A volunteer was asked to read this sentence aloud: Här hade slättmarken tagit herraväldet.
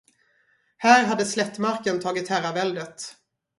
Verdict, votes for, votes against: rejected, 0, 2